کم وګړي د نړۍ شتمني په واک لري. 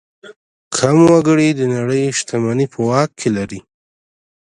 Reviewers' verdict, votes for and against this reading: accepted, 2, 0